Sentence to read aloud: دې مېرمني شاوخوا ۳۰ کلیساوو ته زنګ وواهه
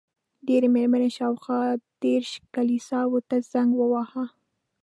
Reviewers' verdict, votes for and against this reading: rejected, 0, 2